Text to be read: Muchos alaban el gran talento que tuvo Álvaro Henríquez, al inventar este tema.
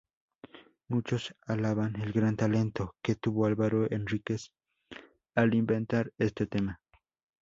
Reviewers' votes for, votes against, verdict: 2, 0, accepted